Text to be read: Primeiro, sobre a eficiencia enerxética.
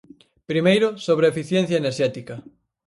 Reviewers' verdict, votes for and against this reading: accepted, 4, 0